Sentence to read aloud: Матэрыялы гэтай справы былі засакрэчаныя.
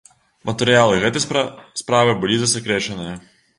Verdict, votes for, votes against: rejected, 0, 2